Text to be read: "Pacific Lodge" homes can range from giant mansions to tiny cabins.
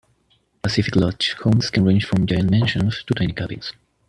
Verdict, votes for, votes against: rejected, 1, 2